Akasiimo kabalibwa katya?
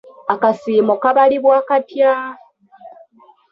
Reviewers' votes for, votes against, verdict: 2, 1, accepted